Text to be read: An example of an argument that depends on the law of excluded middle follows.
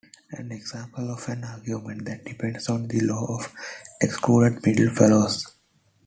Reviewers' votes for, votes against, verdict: 2, 0, accepted